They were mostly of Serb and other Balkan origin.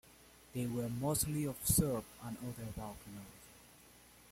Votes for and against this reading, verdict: 2, 1, accepted